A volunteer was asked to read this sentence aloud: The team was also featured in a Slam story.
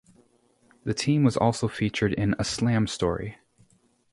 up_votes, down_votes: 2, 0